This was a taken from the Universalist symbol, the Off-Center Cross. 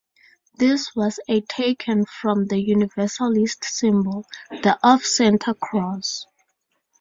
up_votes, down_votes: 4, 0